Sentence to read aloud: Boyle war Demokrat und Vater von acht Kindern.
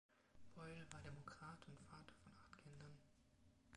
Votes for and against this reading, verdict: 0, 2, rejected